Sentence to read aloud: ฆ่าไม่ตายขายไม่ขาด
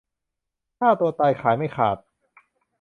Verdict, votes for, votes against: rejected, 0, 2